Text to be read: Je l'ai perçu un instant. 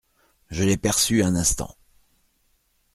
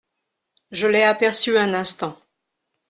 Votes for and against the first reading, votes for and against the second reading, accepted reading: 2, 0, 0, 2, first